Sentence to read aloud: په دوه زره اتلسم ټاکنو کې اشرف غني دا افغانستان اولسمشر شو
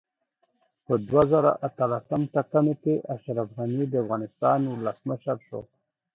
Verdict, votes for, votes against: rejected, 1, 2